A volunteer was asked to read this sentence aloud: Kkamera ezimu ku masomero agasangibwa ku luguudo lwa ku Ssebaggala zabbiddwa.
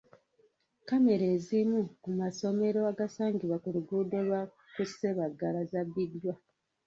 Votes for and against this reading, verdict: 1, 2, rejected